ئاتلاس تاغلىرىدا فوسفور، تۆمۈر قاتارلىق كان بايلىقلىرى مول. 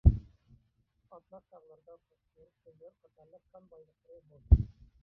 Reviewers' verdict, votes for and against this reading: rejected, 0, 2